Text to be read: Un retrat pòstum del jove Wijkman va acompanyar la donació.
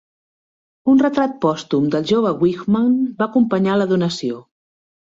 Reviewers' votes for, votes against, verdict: 2, 0, accepted